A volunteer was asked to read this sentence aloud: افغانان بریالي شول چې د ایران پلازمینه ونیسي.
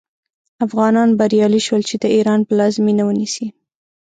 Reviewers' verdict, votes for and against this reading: accepted, 6, 0